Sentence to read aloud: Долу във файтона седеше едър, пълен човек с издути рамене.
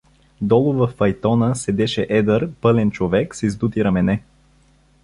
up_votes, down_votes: 2, 0